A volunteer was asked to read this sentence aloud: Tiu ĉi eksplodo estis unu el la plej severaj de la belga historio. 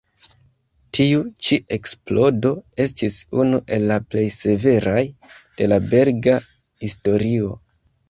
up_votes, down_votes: 1, 2